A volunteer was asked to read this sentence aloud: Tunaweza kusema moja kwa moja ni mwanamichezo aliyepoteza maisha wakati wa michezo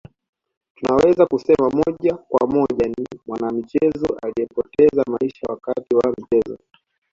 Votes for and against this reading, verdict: 2, 1, accepted